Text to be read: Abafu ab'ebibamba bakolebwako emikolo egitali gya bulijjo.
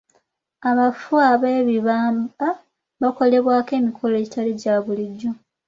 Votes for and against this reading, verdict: 2, 0, accepted